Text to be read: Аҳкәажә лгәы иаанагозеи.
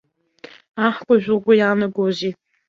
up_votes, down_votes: 2, 1